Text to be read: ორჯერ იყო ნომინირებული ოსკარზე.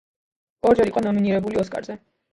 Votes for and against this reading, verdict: 1, 2, rejected